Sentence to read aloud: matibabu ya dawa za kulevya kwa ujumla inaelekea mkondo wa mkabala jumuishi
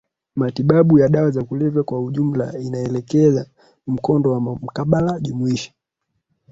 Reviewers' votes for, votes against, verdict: 1, 3, rejected